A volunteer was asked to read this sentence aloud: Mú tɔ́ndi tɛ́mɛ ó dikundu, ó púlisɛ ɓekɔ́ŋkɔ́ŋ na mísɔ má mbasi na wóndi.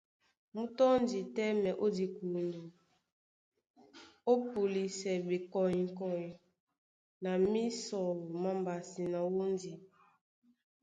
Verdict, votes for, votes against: accepted, 2, 0